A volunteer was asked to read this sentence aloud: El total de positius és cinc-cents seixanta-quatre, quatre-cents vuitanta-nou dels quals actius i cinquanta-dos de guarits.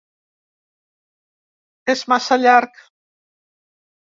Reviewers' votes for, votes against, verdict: 1, 2, rejected